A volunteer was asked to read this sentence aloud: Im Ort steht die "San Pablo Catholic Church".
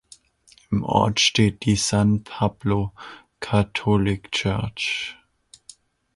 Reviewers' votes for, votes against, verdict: 2, 0, accepted